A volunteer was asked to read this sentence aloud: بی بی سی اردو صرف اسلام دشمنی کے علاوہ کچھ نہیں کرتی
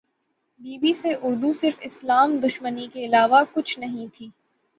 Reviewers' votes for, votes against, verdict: 9, 0, accepted